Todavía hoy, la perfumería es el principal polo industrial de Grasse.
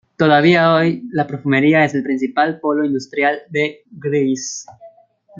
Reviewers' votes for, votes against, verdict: 1, 2, rejected